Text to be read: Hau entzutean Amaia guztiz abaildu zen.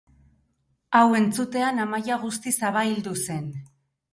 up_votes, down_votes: 6, 0